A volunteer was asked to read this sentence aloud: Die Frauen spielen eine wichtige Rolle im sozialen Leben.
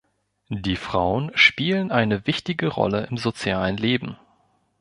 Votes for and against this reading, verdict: 2, 0, accepted